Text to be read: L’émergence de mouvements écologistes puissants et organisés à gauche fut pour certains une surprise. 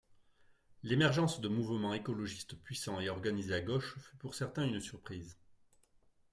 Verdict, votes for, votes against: accepted, 2, 0